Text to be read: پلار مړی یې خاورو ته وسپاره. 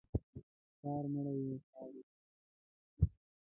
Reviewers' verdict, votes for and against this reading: rejected, 1, 4